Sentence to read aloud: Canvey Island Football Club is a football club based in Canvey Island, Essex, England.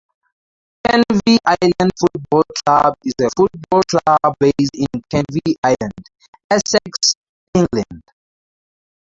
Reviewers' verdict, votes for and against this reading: rejected, 2, 2